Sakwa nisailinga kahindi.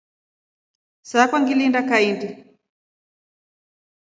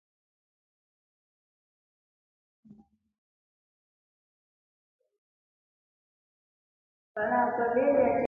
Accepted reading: first